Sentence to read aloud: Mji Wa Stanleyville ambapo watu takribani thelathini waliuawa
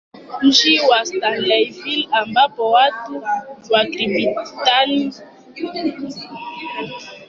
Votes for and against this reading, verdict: 1, 2, rejected